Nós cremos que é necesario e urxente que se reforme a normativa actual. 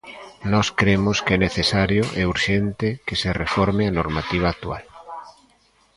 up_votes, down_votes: 2, 0